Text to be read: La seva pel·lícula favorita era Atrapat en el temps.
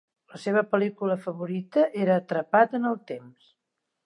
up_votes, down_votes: 2, 0